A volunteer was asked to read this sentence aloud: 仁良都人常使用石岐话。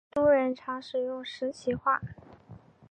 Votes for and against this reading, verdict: 0, 5, rejected